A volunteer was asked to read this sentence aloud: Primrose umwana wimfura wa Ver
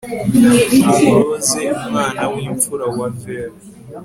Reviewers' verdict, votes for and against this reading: accepted, 2, 0